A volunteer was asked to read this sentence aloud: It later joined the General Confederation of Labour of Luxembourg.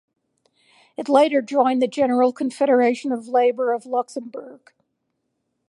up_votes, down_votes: 4, 0